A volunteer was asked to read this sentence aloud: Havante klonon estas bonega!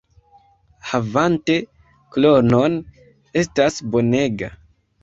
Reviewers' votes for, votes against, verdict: 0, 2, rejected